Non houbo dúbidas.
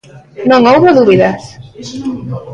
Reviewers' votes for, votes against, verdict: 1, 2, rejected